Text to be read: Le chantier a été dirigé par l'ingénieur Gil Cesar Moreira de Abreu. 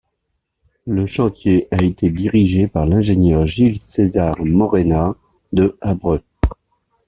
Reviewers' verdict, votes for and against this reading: rejected, 0, 2